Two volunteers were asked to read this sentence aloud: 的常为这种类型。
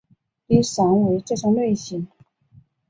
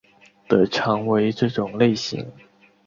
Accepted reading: second